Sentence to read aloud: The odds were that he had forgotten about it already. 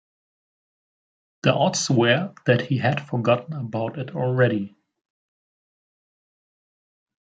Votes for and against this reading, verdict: 2, 1, accepted